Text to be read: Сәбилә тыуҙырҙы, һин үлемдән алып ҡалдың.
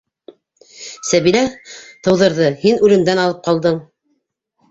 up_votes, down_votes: 1, 2